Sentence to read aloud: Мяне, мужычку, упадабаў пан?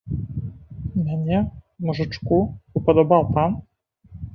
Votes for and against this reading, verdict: 1, 2, rejected